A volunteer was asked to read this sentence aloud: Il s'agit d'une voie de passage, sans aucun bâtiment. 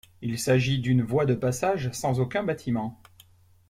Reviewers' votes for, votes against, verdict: 2, 0, accepted